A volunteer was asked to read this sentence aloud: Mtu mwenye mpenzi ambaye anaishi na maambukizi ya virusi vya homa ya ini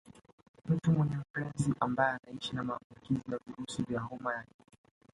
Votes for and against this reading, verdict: 0, 2, rejected